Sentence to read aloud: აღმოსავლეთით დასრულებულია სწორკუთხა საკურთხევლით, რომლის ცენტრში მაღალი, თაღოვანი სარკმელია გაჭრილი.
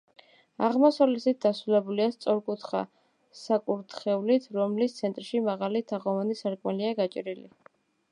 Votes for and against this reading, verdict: 0, 2, rejected